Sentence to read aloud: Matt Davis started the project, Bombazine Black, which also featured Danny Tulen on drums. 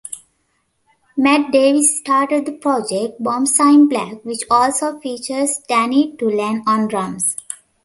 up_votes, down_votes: 1, 2